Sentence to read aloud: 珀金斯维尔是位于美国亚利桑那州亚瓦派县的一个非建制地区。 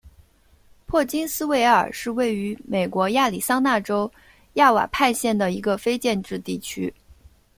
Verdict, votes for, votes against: accepted, 2, 0